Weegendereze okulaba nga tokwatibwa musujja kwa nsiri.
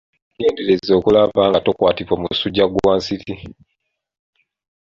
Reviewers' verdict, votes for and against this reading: accepted, 2, 1